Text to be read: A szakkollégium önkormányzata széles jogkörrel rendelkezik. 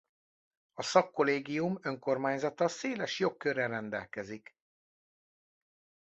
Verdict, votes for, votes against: accepted, 2, 0